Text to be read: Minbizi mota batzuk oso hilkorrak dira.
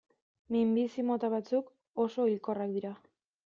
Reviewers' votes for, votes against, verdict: 2, 0, accepted